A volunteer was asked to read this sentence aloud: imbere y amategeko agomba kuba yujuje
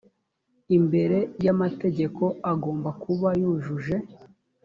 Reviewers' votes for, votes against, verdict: 2, 1, accepted